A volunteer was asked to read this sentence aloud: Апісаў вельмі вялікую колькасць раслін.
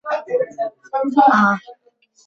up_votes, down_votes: 0, 2